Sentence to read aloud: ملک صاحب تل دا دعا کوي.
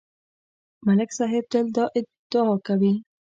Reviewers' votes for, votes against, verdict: 1, 2, rejected